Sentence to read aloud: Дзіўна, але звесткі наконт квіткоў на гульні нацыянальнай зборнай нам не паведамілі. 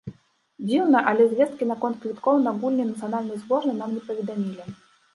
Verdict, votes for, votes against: accepted, 3, 0